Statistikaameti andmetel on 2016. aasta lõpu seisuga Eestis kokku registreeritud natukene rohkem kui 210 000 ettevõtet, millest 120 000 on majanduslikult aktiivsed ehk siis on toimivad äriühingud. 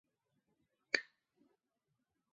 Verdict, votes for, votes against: rejected, 0, 2